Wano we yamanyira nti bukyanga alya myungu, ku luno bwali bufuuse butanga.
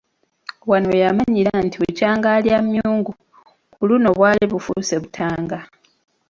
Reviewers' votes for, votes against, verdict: 2, 1, accepted